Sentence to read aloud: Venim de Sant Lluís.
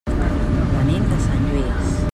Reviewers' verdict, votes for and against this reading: rejected, 1, 2